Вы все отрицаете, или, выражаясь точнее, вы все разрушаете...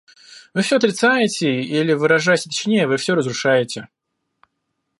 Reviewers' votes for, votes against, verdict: 2, 0, accepted